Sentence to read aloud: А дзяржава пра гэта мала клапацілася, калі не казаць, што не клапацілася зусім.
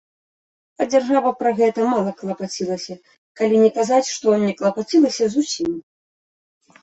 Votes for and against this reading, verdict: 2, 0, accepted